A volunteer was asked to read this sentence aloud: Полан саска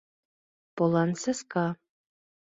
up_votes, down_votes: 2, 0